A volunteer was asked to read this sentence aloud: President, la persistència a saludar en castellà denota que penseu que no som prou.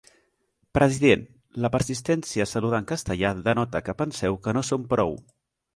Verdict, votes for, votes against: rejected, 1, 2